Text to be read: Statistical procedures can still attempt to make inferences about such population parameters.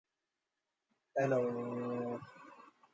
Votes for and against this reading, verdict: 0, 2, rejected